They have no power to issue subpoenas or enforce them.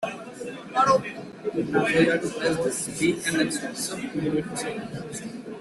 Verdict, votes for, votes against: rejected, 0, 2